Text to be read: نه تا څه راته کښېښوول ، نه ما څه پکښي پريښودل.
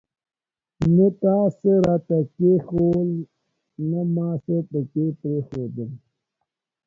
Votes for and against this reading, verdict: 2, 1, accepted